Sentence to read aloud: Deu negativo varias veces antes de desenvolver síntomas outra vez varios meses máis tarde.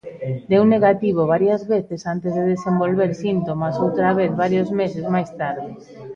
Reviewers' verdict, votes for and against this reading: accepted, 2, 1